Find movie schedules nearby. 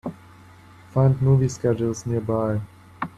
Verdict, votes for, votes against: accepted, 3, 0